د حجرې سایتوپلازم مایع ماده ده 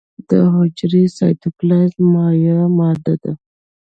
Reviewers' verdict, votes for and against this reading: rejected, 1, 2